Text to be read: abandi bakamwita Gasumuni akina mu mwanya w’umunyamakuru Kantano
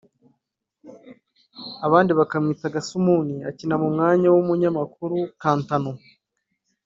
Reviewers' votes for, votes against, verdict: 1, 2, rejected